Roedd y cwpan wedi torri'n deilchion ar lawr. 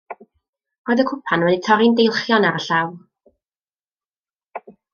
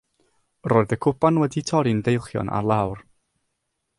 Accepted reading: second